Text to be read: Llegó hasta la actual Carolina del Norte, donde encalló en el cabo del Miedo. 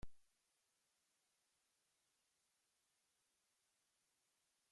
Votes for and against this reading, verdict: 0, 2, rejected